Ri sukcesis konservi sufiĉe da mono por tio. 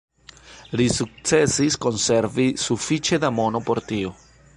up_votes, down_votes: 2, 0